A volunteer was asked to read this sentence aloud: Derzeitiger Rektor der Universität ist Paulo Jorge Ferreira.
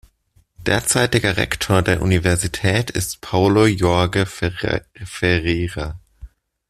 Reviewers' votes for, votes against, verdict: 0, 2, rejected